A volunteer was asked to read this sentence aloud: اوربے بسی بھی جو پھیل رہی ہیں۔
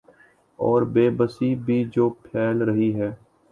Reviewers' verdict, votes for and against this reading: accepted, 2, 0